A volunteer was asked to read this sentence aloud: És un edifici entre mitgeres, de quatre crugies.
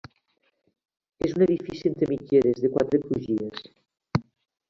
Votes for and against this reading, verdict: 1, 2, rejected